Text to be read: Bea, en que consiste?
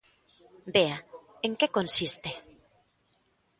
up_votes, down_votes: 2, 0